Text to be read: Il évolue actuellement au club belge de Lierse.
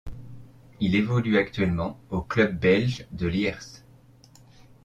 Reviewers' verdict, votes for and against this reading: accepted, 2, 0